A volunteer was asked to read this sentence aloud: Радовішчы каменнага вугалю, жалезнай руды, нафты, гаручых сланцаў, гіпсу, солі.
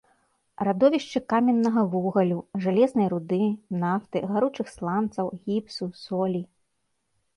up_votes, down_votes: 2, 0